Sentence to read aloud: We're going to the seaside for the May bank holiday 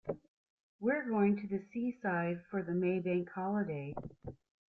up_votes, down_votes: 2, 0